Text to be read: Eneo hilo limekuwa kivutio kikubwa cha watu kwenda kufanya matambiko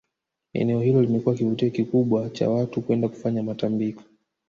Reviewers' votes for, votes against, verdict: 1, 2, rejected